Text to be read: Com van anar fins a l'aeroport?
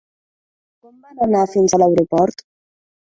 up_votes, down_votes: 1, 3